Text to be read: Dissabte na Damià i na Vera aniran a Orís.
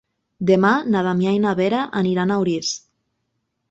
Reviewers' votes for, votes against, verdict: 0, 3, rejected